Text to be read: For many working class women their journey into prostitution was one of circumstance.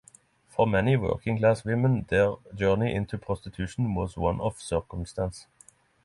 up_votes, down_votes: 6, 0